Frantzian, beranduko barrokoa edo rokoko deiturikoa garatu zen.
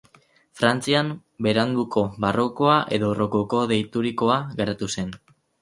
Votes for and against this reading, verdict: 6, 0, accepted